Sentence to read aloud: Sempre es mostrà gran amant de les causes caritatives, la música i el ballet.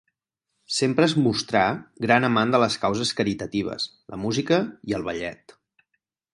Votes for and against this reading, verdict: 6, 0, accepted